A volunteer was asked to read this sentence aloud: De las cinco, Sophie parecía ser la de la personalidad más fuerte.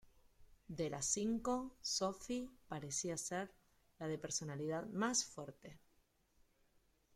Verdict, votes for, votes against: accepted, 2, 0